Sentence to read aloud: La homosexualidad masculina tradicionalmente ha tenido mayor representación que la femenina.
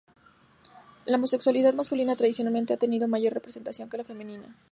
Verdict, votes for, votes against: accepted, 2, 0